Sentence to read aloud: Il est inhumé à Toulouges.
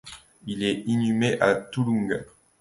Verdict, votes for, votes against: rejected, 1, 2